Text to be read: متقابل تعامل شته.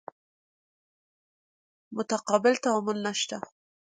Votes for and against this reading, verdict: 1, 2, rejected